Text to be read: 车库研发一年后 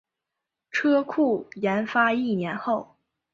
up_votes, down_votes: 3, 0